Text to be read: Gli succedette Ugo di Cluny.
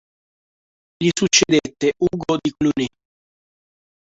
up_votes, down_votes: 0, 2